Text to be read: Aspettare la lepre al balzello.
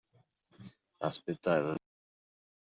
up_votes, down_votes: 0, 2